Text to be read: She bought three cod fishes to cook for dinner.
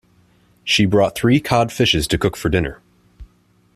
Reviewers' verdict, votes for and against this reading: accepted, 2, 1